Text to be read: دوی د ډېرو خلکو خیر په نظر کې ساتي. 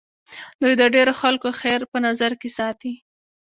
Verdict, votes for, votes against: accepted, 2, 0